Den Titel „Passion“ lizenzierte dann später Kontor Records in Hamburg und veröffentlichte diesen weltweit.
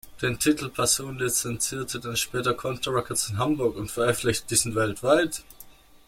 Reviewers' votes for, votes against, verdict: 1, 2, rejected